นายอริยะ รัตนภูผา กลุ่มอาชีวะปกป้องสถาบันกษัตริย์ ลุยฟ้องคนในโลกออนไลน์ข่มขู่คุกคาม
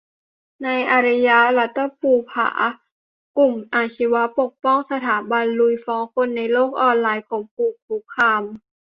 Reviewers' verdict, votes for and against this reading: rejected, 0, 2